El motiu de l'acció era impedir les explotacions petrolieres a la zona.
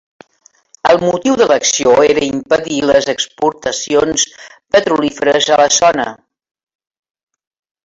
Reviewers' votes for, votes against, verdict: 0, 3, rejected